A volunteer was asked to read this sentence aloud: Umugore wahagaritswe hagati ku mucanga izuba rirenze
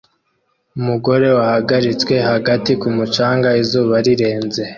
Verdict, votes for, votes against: accepted, 2, 0